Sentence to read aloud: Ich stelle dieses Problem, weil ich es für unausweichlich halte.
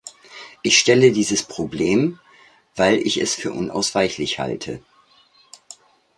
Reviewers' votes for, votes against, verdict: 2, 0, accepted